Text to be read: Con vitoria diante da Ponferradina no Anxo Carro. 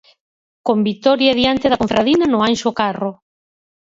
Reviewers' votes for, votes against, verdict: 2, 4, rejected